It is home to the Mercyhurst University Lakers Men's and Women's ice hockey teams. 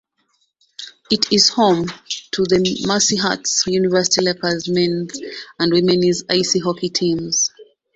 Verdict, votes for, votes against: rejected, 1, 2